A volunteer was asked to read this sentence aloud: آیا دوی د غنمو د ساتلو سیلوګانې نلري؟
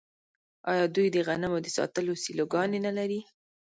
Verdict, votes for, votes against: rejected, 1, 2